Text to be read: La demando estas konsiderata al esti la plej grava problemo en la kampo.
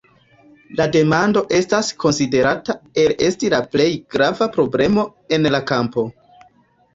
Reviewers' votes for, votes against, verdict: 0, 2, rejected